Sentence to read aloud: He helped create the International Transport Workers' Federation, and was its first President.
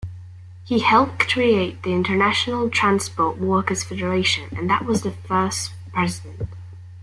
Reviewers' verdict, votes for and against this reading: rejected, 1, 2